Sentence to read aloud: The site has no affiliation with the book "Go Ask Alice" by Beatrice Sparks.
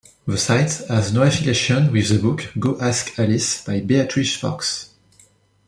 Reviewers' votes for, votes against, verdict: 2, 1, accepted